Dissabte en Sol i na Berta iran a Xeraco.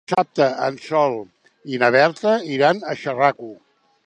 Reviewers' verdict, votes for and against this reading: rejected, 0, 3